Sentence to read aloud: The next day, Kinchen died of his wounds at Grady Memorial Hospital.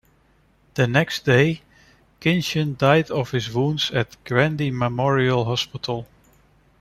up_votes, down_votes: 0, 2